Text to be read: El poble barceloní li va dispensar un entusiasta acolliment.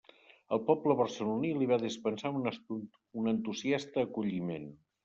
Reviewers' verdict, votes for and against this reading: rejected, 0, 2